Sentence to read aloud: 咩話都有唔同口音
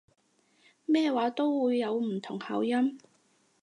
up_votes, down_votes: 0, 4